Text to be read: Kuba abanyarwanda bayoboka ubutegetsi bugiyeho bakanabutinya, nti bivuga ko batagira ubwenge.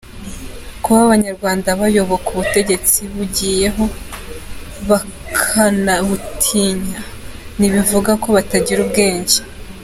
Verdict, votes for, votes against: accepted, 2, 0